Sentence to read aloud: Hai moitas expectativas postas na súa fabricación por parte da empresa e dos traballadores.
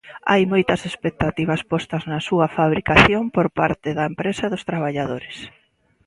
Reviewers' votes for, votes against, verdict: 2, 0, accepted